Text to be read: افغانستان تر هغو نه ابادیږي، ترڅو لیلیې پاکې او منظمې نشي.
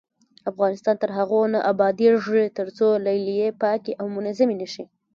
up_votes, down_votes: 2, 0